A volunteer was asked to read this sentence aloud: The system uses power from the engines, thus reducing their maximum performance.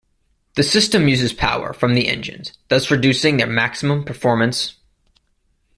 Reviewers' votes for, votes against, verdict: 1, 2, rejected